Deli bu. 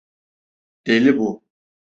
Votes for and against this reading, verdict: 2, 0, accepted